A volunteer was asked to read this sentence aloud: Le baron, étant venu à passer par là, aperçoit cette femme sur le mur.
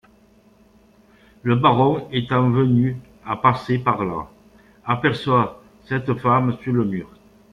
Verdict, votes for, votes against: accepted, 2, 1